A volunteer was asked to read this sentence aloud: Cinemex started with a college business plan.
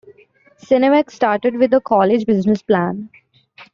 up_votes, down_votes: 2, 0